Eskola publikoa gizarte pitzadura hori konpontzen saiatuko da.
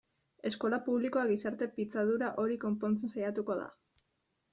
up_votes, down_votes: 2, 0